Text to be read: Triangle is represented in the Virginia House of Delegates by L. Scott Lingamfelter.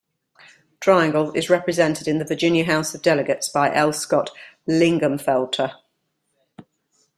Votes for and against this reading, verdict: 3, 0, accepted